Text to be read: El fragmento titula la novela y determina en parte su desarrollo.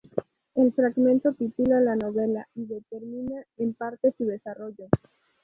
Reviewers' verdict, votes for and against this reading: rejected, 2, 2